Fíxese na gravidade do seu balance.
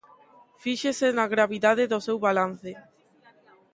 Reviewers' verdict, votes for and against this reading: rejected, 0, 2